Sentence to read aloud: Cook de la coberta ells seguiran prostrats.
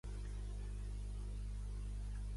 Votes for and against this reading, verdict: 0, 2, rejected